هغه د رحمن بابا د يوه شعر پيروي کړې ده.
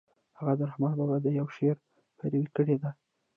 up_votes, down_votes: 0, 2